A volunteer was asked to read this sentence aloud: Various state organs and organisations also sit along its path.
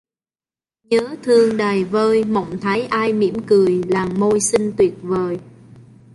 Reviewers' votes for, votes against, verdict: 0, 3, rejected